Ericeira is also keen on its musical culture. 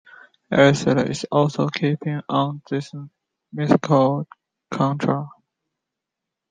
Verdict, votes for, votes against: rejected, 0, 2